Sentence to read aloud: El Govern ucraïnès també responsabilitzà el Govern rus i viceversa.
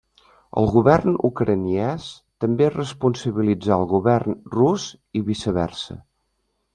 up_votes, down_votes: 0, 2